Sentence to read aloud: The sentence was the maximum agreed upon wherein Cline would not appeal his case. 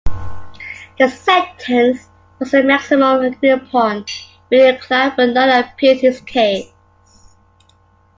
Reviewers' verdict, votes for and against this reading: rejected, 1, 2